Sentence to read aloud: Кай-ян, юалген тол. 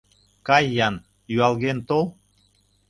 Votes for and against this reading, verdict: 2, 0, accepted